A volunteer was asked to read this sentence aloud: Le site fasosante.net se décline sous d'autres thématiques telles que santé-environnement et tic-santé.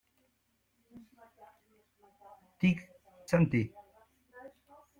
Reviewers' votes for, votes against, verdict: 0, 2, rejected